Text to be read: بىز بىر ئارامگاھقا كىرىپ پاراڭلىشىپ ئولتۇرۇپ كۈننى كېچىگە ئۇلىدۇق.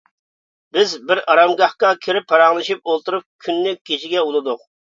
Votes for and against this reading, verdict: 0, 2, rejected